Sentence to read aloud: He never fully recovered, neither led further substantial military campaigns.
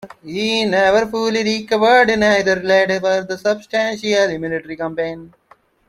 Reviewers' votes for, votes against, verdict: 2, 1, accepted